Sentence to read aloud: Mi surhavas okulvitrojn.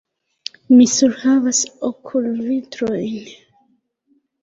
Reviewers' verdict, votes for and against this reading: rejected, 0, 2